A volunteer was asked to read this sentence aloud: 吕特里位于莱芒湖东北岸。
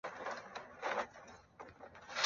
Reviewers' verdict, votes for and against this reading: rejected, 2, 4